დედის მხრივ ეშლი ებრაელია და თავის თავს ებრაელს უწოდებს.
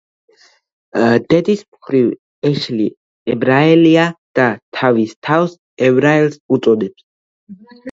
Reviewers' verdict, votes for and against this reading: accepted, 2, 0